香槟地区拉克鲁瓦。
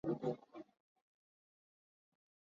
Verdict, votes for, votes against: rejected, 0, 2